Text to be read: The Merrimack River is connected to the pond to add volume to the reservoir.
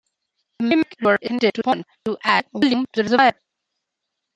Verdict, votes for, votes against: rejected, 0, 2